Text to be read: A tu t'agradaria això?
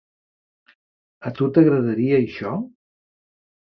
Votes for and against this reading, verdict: 3, 0, accepted